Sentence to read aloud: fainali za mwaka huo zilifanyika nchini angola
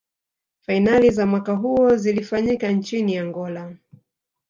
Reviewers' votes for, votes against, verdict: 0, 2, rejected